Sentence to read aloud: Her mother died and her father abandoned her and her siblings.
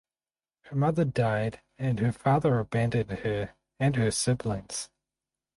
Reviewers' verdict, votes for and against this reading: rejected, 4, 4